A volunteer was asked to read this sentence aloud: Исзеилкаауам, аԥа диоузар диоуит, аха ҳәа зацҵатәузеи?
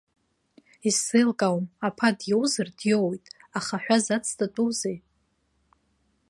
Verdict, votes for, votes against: accepted, 2, 0